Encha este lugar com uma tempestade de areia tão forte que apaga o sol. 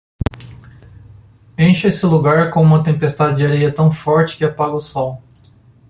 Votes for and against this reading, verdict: 2, 1, accepted